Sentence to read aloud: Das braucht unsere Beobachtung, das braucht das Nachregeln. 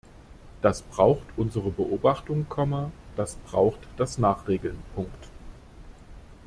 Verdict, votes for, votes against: rejected, 0, 2